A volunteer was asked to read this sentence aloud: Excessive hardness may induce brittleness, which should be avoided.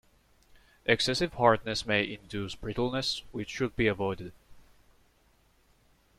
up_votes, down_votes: 2, 0